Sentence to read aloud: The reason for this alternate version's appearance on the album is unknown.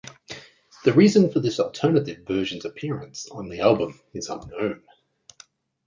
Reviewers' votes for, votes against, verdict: 2, 0, accepted